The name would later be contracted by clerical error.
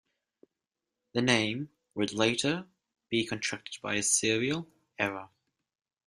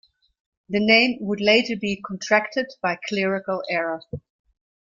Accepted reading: second